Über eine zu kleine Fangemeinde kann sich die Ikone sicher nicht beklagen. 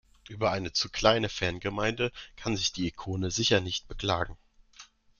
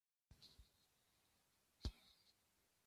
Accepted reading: first